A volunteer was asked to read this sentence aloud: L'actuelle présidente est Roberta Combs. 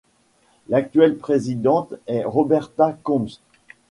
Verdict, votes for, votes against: accepted, 2, 0